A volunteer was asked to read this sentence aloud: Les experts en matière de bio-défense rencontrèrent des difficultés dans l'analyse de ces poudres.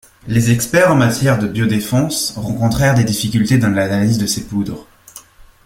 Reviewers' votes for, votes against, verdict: 0, 2, rejected